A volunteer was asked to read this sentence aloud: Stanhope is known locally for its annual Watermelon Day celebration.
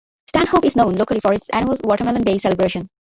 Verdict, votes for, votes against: rejected, 0, 2